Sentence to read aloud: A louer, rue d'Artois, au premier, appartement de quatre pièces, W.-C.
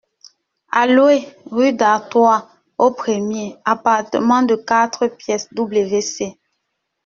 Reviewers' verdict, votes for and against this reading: rejected, 1, 2